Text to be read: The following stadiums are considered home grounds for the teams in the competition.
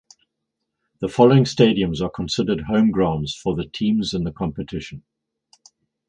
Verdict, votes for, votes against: rejected, 2, 2